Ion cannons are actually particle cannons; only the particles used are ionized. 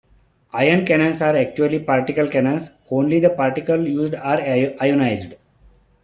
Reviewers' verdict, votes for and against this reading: accepted, 2, 0